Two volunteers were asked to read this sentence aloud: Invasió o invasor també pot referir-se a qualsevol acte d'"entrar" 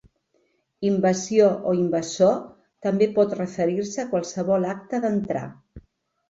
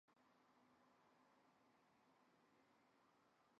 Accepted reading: first